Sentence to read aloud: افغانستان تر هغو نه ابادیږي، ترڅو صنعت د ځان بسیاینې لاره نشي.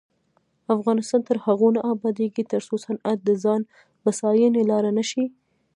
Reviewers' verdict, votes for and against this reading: rejected, 0, 2